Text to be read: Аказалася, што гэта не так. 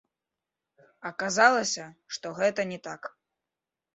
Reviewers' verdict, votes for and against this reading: rejected, 1, 2